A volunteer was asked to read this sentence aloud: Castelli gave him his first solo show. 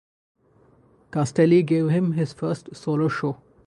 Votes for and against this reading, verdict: 2, 2, rejected